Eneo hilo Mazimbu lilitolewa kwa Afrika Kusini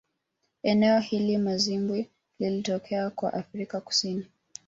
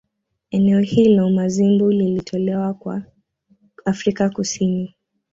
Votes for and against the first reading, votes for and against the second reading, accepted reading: 1, 2, 2, 0, second